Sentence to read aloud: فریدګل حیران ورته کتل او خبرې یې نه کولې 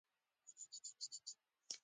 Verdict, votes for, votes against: rejected, 1, 2